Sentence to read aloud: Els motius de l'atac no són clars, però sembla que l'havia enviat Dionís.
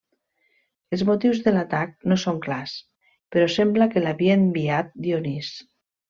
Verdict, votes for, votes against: rejected, 1, 2